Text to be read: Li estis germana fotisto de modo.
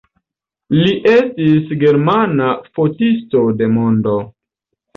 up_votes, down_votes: 1, 2